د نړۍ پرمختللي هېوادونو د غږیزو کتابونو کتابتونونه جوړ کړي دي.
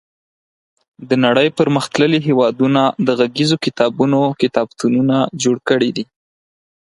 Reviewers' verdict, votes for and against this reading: accepted, 4, 2